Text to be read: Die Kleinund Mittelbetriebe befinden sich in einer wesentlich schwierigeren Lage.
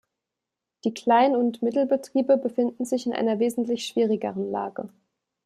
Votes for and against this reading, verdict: 2, 0, accepted